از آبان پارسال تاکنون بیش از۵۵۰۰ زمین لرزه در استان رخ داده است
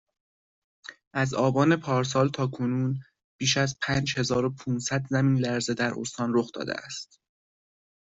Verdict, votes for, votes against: rejected, 0, 2